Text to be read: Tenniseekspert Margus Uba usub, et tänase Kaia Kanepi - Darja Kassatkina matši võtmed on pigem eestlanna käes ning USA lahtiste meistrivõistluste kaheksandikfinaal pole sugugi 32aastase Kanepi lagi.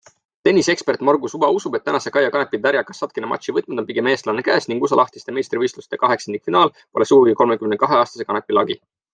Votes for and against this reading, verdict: 0, 2, rejected